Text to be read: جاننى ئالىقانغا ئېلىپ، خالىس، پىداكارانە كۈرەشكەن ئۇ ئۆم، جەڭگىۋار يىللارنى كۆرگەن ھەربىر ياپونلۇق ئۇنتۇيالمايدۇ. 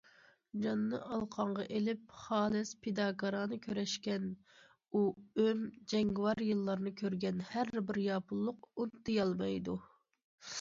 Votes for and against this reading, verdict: 2, 0, accepted